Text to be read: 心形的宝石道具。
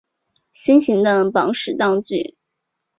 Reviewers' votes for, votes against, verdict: 2, 0, accepted